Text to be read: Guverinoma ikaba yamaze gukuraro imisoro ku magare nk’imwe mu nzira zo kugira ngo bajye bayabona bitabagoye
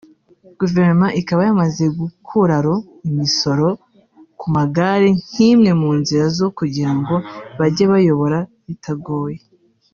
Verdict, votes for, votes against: rejected, 0, 2